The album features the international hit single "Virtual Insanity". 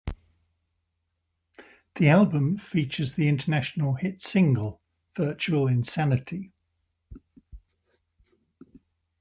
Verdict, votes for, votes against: accepted, 2, 0